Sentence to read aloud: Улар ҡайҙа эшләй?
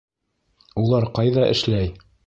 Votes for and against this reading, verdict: 2, 0, accepted